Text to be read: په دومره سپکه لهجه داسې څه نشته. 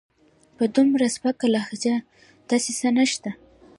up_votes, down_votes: 0, 2